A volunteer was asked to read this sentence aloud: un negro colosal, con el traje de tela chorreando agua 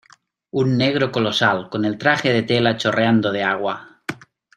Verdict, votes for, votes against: rejected, 0, 2